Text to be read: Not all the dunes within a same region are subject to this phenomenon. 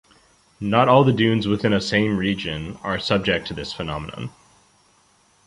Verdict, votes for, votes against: accepted, 2, 0